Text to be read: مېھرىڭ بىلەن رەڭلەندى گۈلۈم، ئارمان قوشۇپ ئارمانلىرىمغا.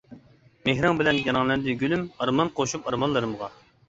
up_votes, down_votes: 2, 0